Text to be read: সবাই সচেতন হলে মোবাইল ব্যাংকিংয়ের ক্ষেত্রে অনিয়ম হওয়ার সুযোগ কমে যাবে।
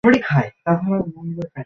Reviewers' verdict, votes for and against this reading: rejected, 0, 3